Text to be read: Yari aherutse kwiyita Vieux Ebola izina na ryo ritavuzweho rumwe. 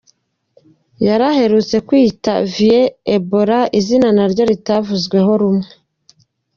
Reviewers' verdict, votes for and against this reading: accepted, 2, 1